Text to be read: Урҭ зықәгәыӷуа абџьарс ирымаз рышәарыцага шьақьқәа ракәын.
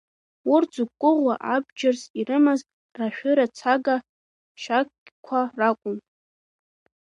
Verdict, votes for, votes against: rejected, 1, 2